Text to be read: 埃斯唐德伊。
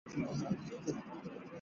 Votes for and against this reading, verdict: 1, 4, rejected